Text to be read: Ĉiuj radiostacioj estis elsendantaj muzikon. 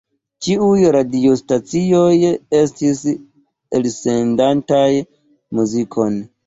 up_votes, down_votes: 2, 1